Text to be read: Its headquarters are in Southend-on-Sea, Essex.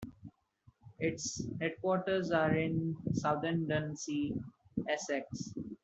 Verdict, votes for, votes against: accepted, 2, 0